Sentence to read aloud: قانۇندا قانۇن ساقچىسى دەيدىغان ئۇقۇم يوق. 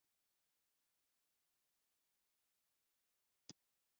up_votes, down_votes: 0, 2